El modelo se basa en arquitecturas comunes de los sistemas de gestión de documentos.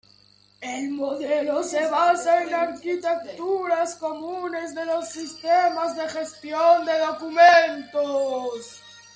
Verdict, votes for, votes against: rejected, 0, 2